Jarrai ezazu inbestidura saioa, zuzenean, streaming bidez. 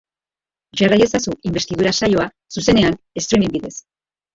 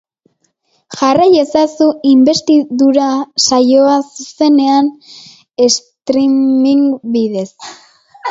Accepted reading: second